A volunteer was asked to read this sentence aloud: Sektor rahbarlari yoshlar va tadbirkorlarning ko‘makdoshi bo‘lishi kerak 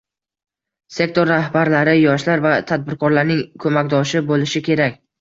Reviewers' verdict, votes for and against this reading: rejected, 0, 2